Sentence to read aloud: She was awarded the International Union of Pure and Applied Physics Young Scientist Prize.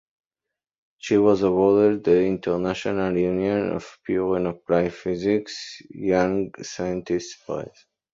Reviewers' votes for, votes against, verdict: 0, 2, rejected